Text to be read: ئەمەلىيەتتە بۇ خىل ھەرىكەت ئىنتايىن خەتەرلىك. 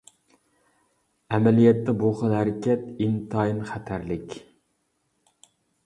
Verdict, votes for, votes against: accepted, 2, 0